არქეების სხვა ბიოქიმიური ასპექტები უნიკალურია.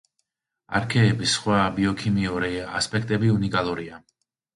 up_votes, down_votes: 2, 0